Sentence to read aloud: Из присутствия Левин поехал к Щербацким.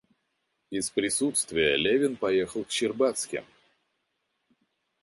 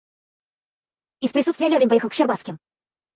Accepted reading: first